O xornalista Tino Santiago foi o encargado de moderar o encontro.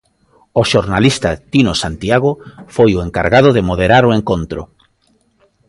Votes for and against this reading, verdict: 2, 0, accepted